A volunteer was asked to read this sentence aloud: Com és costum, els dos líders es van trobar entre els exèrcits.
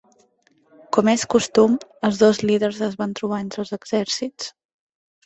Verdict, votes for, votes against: accepted, 3, 1